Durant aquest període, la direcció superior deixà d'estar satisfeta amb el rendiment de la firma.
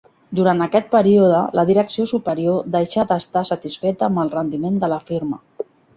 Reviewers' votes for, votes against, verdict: 3, 0, accepted